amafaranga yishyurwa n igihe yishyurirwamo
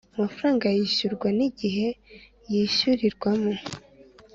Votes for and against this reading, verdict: 2, 0, accepted